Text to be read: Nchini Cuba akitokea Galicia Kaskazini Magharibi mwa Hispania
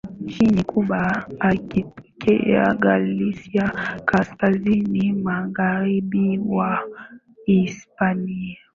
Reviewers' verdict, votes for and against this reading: accepted, 2, 0